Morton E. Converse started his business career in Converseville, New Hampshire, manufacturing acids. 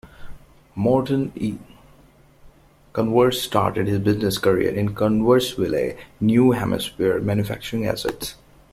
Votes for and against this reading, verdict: 2, 1, accepted